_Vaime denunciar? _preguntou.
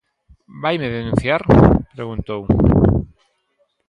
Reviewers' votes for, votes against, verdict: 2, 0, accepted